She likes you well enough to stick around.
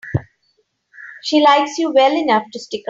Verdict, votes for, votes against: rejected, 0, 2